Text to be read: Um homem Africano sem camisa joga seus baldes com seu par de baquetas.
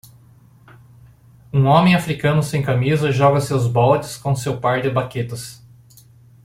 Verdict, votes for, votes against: accepted, 2, 0